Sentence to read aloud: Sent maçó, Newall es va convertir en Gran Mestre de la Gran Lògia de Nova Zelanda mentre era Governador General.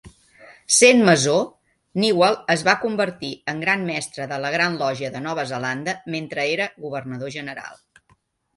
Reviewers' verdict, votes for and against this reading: accepted, 2, 0